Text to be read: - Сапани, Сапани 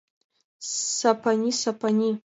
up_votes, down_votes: 2, 0